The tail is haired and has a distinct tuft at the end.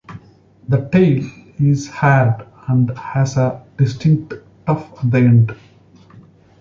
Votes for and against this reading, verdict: 0, 2, rejected